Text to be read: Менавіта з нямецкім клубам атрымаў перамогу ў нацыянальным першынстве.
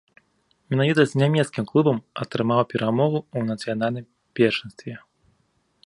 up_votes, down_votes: 3, 0